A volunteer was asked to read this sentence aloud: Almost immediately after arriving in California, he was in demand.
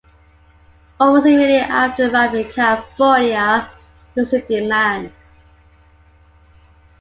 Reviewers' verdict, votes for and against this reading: rejected, 0, 2